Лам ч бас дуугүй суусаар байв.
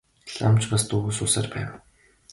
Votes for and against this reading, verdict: 5, 1, accepted